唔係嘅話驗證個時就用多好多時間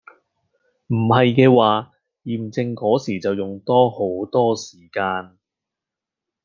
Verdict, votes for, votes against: accepted, 2, 0